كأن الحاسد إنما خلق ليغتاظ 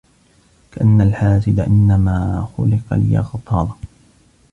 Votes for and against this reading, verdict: 2, 1, accepted